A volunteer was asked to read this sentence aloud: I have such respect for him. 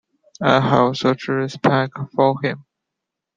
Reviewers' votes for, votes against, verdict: 2, 1, accepted